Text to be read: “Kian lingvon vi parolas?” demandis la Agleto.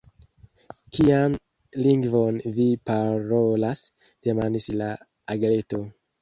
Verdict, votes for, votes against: rejected, 1, 2